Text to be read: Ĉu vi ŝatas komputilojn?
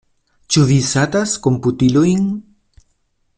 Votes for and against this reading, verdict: 0, 2, rejected